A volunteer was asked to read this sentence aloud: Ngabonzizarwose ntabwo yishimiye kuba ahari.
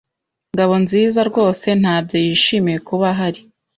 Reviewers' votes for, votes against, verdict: 1, 2, rejected